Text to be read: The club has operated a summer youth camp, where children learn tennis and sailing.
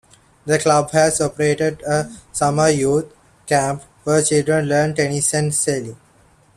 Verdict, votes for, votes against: accepted, 2, 0